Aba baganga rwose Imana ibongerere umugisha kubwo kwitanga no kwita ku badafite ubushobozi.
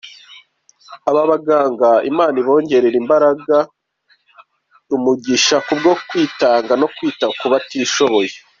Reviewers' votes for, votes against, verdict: 1, 2, rejected